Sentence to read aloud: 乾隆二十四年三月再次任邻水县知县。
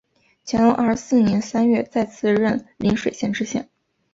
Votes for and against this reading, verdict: 2, 0, accepted